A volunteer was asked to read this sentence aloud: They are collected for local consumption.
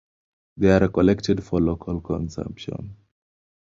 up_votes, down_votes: 2, 0